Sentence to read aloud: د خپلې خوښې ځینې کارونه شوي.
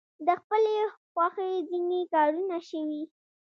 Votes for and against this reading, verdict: 2, 0, accepted